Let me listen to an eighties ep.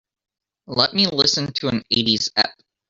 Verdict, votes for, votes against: rejected, 0, 3